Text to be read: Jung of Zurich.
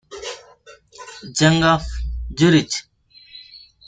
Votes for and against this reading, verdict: 0, 2, rejected